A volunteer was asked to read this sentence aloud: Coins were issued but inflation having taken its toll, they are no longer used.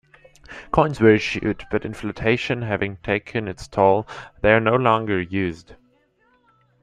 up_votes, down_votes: 0, 2